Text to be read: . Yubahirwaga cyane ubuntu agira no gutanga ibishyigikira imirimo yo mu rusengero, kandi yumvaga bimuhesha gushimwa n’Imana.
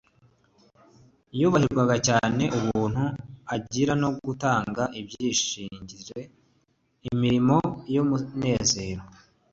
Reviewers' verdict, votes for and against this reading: rejected, 0, 2